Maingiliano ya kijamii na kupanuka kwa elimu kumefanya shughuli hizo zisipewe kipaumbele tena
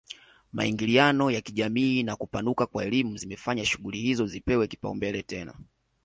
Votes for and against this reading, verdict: 1, 2, rejected